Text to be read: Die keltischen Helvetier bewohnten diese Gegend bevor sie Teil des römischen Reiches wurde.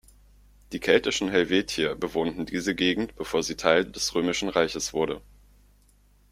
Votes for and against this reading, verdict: 2, 0, accepted